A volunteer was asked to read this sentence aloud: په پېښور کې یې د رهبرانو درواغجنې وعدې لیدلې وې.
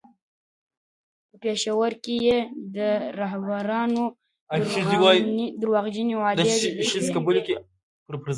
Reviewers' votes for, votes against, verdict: 1, 2, rejected